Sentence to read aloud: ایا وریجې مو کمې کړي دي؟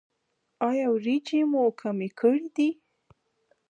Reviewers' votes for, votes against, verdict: 0, 2, rejected